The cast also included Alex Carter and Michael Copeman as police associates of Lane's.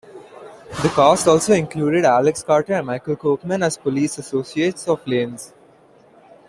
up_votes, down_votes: 2, 0